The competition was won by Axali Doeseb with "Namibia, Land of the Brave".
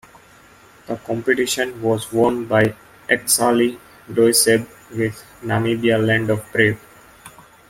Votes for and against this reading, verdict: 1, 2, rejected